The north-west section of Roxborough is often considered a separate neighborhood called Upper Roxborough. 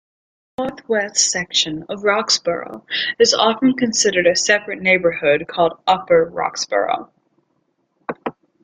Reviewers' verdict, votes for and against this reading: rejected, 0, 2